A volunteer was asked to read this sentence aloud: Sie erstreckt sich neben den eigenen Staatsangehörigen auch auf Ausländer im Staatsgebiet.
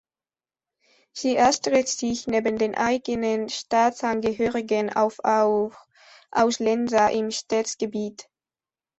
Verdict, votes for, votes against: rejected, 1, 2